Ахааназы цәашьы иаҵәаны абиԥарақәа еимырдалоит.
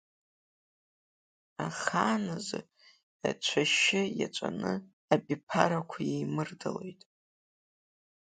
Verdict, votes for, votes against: accepted, 2, 1